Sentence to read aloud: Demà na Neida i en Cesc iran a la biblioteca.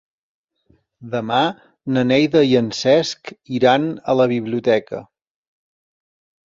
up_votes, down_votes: 3, 0